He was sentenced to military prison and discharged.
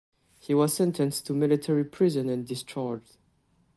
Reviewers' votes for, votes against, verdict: 2, 0, accepted